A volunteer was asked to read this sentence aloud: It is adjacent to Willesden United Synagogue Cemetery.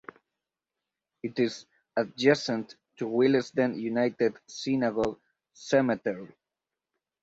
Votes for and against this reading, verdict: 4, 0, accepted